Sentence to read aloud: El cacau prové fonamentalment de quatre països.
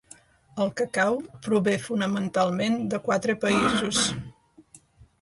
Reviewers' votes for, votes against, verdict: 1, 2, rejected